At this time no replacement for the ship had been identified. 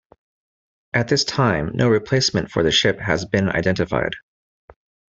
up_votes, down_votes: 1, 2